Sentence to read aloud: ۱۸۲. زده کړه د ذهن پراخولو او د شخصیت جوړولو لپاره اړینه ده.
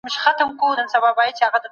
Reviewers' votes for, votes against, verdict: 0, 2, rejected